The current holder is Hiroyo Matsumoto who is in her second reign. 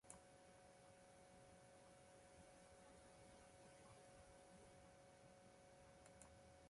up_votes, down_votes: 0, 2